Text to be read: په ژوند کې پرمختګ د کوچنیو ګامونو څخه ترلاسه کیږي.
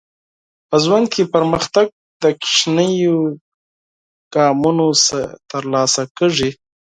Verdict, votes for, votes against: rejected, 0, 4